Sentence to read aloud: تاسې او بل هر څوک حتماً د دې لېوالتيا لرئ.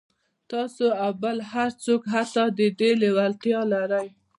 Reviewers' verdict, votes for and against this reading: rejected, 0, 2